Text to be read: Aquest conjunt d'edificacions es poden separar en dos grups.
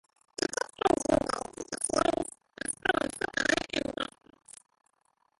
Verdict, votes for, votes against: rejected, 0, 12